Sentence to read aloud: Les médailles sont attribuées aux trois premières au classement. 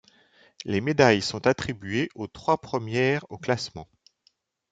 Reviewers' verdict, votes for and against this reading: accepted, 2, 0